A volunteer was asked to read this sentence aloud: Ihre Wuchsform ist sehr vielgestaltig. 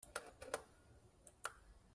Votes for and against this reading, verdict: 0, 2, rejected